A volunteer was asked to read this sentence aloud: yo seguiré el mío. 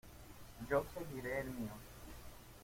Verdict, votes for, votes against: rejected, 0, 2